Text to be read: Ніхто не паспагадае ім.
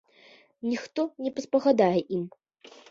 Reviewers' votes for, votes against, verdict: 2, 0, accepted